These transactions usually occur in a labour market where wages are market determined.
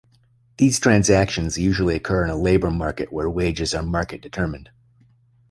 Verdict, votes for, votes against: accepted, 2, 0